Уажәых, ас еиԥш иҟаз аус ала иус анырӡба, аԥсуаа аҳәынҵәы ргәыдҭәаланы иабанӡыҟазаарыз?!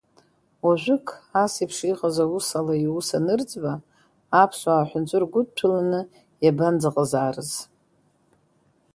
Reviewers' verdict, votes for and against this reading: rejected, 1, 2